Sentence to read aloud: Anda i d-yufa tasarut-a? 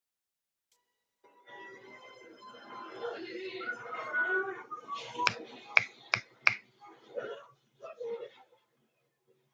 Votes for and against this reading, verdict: 0, 2, rejected